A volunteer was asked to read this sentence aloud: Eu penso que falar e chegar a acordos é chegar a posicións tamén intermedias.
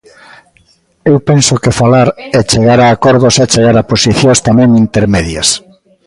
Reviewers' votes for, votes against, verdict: 2, 0, accepted